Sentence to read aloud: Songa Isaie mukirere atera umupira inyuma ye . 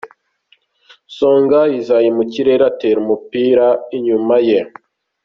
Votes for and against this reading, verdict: 2, 0, accepted